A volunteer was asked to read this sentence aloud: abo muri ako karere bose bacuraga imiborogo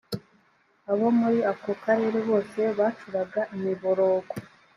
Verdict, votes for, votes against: accepted, 2, 0